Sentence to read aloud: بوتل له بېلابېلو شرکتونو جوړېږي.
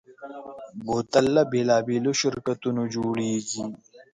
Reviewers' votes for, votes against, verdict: 3, 0, accepted